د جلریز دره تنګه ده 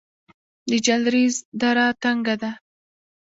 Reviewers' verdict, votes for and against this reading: rejected, 0, 2